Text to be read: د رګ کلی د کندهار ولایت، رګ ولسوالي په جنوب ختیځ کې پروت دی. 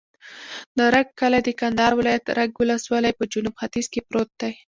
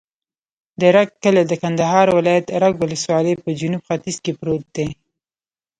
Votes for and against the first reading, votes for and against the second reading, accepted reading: 2, 0, 0, 2, first